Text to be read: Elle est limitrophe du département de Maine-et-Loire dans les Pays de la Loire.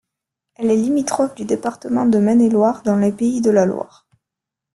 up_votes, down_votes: 2, 0